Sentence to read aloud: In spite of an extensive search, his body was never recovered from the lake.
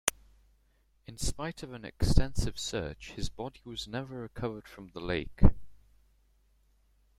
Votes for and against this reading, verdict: 2, 0, accepted